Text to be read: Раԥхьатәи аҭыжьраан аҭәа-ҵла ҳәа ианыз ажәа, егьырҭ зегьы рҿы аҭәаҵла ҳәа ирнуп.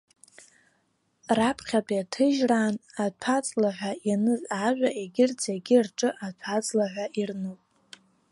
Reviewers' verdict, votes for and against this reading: rejected, 0, 2